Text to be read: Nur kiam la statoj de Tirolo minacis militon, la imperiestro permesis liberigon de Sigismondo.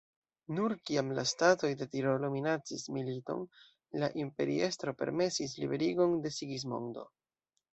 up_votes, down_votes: 2, 0